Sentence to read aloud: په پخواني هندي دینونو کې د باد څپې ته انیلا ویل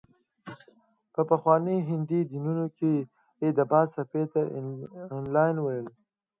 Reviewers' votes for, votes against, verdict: 2, 0, accepted